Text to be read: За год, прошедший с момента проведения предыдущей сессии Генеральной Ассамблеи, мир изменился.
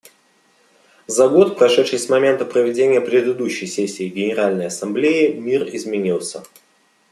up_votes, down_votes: 0, 2